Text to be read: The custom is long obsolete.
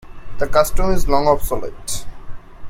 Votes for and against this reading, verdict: 2, 0, accepted